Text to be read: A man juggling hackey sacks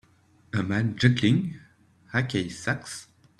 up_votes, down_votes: 2, 0